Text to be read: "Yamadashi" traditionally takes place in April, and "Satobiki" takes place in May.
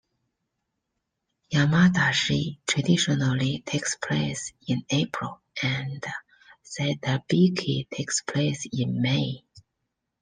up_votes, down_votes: 2, 0